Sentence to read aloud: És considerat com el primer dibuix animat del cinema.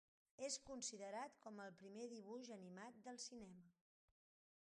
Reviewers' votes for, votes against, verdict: 4, 0, accepted